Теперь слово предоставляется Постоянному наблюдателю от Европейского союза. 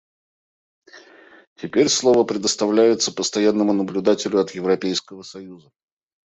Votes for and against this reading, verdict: 2, 0, accepted